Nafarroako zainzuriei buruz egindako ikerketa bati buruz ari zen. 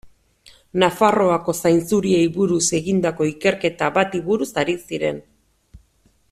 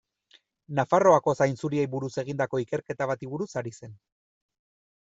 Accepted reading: second